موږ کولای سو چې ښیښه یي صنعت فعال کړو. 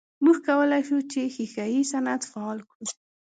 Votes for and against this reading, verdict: 2, 0, accepted